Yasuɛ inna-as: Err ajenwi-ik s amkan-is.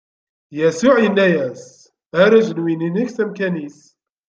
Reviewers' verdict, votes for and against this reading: rejected, 1, 2